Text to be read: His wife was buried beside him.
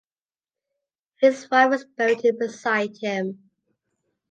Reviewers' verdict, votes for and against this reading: accepted, 2, 1